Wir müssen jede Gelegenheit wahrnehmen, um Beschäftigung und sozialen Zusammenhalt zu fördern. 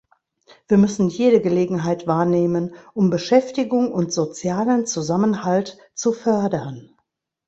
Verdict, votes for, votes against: accepted, 2, 0